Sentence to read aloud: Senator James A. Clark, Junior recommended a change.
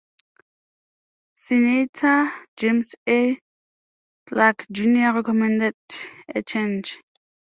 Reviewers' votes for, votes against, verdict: 1, 2, rejected